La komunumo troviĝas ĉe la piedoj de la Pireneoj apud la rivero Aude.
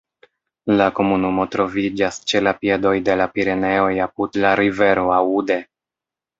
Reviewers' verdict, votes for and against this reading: accepted, 2, 0